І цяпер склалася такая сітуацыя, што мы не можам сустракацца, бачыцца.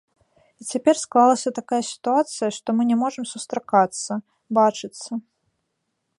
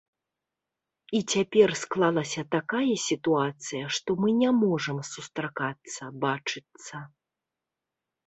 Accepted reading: second